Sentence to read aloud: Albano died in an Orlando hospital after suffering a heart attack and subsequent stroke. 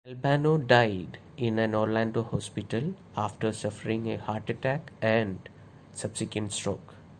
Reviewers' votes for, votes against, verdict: 2, 0, accepted